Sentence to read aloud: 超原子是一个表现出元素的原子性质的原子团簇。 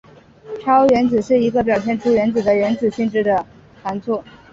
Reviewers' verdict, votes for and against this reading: accepted, 4, 0